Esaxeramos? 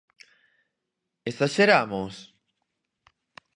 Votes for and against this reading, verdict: 4, 0, accepted